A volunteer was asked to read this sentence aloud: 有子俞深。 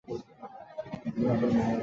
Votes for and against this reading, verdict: 0, 2, rejected